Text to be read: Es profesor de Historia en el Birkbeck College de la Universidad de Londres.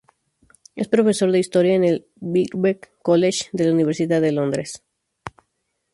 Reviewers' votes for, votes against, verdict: 2, 0, accepted